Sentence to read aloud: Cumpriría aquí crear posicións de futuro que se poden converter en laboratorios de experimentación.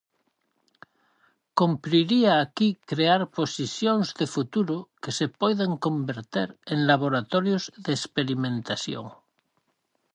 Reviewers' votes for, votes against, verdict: 0, 4, rejected